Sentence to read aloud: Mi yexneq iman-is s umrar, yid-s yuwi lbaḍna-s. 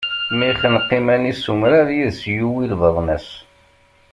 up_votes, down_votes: 0, 2